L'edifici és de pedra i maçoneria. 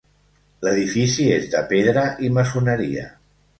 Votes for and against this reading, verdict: 2, 0, accepted